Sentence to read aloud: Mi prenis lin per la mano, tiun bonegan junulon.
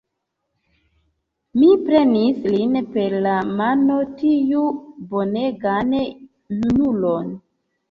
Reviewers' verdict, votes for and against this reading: accepted, 3, 1